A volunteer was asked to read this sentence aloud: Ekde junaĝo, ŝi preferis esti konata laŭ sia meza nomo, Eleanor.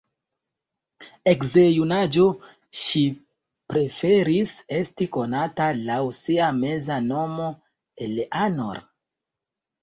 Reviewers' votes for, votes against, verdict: 1, 2, rejected